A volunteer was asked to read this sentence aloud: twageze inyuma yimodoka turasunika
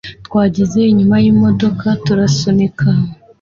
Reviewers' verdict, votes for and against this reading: accepted, 2, 0